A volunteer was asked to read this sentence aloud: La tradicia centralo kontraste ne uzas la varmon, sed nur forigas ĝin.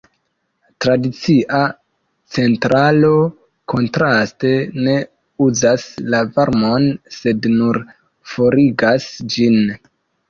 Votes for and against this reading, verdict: 1, 2, rejected